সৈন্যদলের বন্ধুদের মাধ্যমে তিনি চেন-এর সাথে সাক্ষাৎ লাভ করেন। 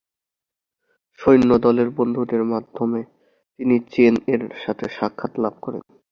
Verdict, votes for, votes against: accepted, 2, 0